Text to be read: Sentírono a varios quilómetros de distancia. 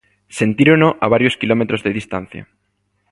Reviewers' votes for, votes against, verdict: 2, 0, accepted